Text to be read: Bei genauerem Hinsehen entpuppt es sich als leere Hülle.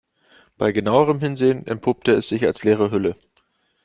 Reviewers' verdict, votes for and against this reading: accepted, 2, 1